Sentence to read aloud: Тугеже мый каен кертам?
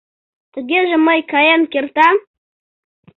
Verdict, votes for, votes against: accepted, 2, 0